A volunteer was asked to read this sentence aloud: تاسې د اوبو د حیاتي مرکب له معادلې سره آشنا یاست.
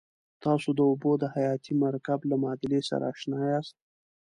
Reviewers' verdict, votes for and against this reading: accepted, 2, 0